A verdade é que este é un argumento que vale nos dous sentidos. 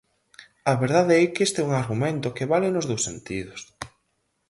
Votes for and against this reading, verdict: 4, 0, accepted